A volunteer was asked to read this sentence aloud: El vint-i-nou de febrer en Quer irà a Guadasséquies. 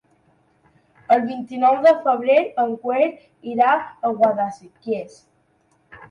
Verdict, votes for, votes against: rejected, 1, 2